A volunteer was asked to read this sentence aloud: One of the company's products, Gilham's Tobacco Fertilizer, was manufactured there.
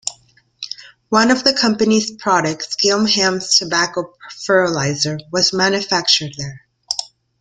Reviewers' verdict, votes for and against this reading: accepted, 2, 0